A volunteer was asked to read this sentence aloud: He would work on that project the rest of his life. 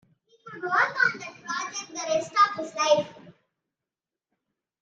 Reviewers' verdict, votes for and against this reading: rejected, 0, 2